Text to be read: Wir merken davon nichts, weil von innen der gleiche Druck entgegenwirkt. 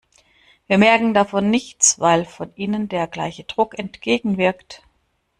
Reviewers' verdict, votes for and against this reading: accepted, 2, 0